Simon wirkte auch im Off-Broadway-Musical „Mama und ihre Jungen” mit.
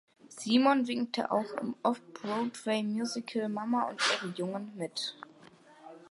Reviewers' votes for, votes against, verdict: 0, 2, rejected